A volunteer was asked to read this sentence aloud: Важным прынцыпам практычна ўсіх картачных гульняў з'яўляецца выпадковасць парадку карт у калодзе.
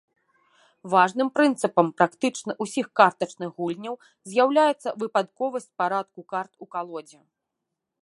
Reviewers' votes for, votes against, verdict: 2, 0, accepted